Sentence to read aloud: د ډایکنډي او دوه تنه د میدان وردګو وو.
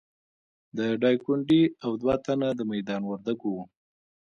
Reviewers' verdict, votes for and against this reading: accepted, 2, 0